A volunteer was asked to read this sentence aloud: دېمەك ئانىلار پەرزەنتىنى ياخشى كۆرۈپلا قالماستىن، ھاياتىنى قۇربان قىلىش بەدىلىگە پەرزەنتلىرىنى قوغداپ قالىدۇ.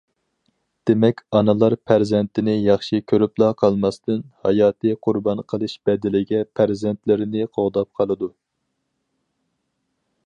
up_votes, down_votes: 0, 4